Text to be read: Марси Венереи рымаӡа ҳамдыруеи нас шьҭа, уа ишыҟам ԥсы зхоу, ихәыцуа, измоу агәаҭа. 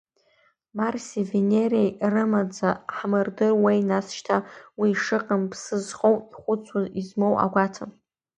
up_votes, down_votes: 1, 2